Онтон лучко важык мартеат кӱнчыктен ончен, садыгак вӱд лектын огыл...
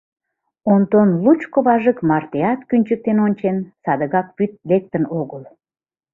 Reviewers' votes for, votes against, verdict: 2, 0, accepted